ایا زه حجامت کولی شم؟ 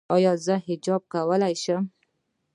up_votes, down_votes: 1, 2